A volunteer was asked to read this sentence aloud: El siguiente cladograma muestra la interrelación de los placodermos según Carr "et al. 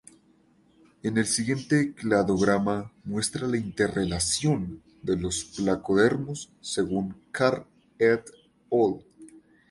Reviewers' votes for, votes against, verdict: 2, 2, rejected